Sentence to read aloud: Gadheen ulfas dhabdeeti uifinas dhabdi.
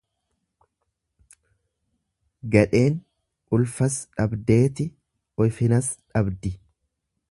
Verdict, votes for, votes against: rejected, 1, 2